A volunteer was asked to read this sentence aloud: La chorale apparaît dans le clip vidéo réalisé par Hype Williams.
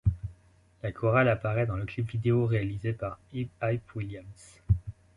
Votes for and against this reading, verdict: 1, 2, rejected